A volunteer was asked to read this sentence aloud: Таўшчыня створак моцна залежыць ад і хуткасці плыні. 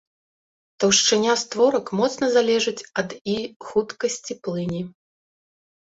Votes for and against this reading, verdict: 2, 0, accepted